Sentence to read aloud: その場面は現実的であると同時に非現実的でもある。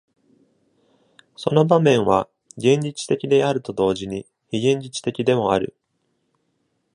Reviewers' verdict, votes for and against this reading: accepted, 2, 0